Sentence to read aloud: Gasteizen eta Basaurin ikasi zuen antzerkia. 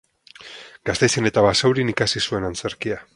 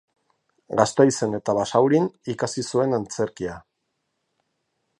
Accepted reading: second